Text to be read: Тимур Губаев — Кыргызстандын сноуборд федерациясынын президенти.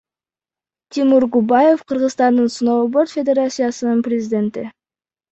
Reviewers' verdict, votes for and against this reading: rejected, 1, 2